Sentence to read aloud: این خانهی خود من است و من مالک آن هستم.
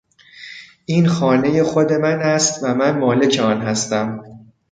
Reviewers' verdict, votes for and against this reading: accepted, 2, 0